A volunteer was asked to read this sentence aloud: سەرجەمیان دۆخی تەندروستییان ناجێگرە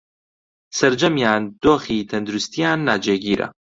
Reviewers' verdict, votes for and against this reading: rejected, 1, 2